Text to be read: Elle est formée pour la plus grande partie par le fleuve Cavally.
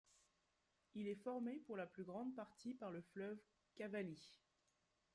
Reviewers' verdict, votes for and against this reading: rejected, 0, 2